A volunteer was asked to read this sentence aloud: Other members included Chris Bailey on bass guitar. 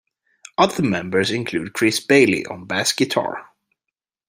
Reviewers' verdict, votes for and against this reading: rejected, 1, 2